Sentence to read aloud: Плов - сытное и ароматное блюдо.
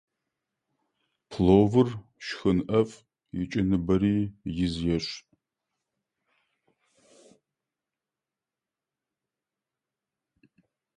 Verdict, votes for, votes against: rejected, 0, 2